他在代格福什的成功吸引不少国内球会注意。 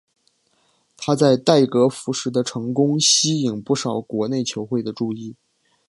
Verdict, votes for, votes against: accepted, 3, 1